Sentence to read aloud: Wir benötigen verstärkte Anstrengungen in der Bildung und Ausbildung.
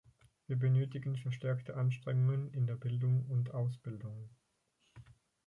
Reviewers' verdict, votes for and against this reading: accepted, 4, 0